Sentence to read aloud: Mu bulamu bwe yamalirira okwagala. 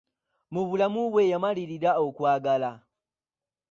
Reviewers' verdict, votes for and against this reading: rejected, 1, 2